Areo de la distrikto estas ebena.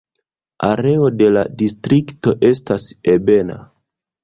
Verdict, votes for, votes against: rejected, 1, 2